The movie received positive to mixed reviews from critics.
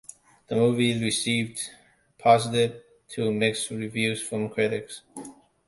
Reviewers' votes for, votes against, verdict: 2, 0, accepted